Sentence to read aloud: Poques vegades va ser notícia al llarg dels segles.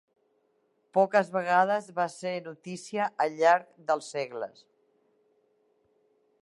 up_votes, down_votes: 3, 0